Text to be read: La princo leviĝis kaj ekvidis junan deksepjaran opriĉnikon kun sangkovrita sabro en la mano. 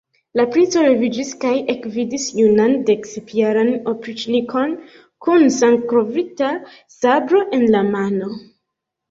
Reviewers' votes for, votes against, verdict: 0, 2, rejected